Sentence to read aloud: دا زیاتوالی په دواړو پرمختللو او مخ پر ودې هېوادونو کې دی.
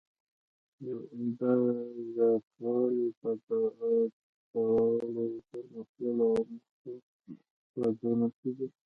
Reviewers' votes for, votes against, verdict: 1, 2, rejected